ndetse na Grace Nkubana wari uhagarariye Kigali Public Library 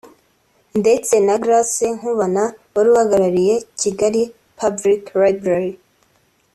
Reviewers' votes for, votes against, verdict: 2, 0, accepted